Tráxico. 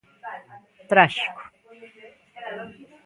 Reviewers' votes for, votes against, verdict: 2, 1, accepted